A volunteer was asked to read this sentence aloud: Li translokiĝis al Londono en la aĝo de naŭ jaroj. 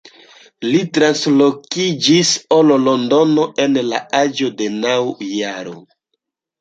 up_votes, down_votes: 2, 1